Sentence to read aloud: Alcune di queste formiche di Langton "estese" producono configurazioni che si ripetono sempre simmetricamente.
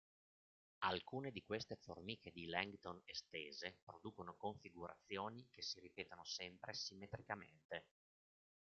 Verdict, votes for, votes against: rejected, 1, 2